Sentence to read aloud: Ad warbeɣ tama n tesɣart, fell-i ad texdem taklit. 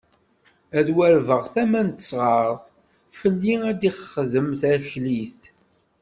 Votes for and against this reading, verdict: 1, 2, rejected